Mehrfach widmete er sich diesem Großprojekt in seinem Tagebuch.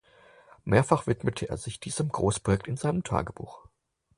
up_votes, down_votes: 6, 0